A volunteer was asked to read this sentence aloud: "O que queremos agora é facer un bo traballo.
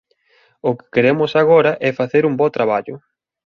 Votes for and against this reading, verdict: 2, 0, accepted